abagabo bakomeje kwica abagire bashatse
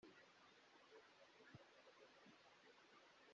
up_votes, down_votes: 0, 2